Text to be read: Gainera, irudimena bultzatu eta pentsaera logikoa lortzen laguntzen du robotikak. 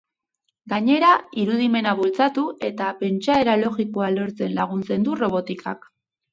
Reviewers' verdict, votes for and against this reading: accepted, 2, 0